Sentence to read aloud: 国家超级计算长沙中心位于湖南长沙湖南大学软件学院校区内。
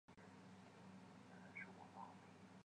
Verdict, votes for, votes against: rejected, 0, 2